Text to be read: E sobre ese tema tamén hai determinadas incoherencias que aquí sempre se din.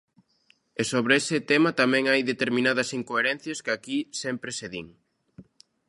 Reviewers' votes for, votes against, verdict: 2, 0, accepted